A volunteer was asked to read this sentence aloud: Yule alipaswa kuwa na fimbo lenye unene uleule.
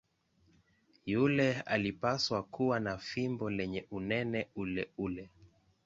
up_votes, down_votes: 2, 1